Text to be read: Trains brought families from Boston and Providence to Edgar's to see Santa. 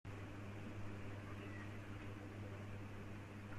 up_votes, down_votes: 0, 2